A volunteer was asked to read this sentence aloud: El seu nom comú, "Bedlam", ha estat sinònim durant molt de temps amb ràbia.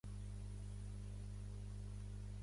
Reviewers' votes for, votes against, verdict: 0, 2, rejected